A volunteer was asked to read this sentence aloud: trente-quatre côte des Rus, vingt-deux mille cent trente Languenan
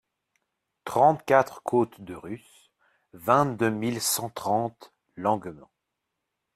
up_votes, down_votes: 1, 2